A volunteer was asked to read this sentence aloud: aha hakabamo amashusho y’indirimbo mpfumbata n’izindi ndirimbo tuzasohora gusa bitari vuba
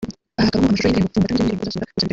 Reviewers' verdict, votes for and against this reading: rejected, 0, 2